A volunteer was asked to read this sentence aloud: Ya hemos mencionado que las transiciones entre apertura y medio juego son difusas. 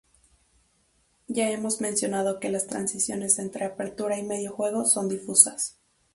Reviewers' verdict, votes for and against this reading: accepted, 2, 0